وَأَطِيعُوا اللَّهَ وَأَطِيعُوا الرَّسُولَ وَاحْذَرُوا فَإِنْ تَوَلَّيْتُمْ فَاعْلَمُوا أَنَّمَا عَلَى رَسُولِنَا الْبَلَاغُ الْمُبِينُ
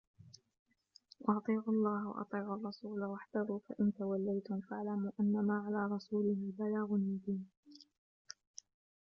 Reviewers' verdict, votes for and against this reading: rejected, 0, 2